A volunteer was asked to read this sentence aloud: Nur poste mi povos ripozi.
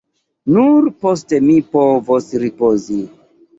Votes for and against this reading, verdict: 2, 0, accepted